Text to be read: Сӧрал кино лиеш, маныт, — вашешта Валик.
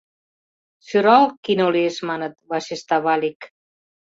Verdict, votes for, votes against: accepted, 2, 0